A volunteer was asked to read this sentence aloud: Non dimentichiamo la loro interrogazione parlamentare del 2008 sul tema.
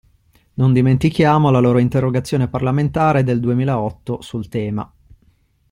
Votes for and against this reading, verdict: 0, 2, rejected